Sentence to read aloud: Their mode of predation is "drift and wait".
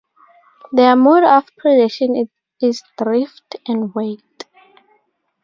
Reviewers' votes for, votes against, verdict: 2, 0, accepted